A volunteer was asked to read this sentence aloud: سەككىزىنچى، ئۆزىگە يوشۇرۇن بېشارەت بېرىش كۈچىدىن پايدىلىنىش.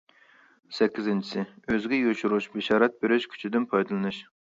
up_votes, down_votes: 0, 2